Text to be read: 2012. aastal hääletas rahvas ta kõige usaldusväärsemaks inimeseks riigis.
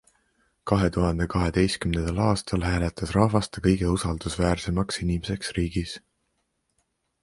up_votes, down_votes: 0, 2